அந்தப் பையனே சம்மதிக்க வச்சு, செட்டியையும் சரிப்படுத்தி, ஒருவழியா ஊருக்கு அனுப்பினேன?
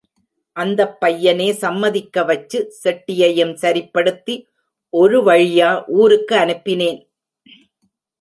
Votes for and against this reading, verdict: 0, 2, rejected